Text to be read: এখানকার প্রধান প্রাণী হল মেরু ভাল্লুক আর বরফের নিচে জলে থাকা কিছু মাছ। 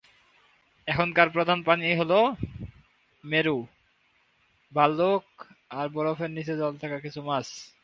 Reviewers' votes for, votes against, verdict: 0, 2, rejected